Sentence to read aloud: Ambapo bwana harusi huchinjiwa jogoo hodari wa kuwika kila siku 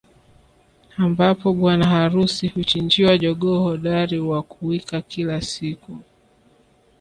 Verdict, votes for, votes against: rejected, 1, 2